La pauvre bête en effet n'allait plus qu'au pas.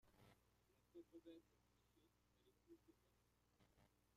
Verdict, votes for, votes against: rejected, 0, 2